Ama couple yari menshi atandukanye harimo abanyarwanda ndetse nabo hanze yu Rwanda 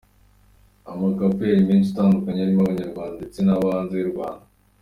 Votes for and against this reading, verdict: 2, 0, accepted